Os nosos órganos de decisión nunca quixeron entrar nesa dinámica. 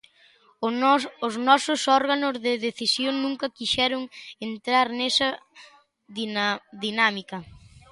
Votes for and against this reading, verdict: 0, 2, rejected